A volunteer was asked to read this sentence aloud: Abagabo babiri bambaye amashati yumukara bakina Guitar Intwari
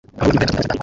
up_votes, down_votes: 1, 3